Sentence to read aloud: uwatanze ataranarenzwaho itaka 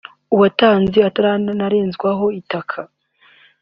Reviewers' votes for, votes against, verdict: 0, 2, rejected